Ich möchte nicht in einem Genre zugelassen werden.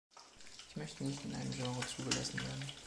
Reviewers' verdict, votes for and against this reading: rejected, 0, 2